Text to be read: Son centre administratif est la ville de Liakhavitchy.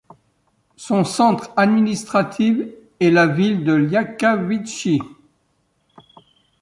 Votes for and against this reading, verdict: 0, 2, rejected